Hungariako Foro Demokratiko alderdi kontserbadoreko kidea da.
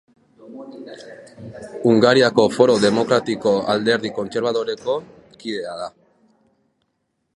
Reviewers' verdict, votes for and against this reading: rejected, 0, 2